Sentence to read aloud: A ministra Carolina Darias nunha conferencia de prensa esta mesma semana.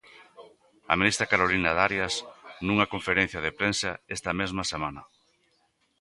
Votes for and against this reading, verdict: 2, 0, accepted